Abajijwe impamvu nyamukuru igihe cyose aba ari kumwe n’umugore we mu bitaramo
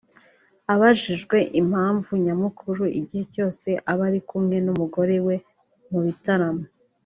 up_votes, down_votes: 2, 0